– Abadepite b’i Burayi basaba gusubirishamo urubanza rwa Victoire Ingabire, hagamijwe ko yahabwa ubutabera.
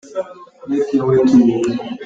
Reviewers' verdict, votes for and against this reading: rejected, 0, 2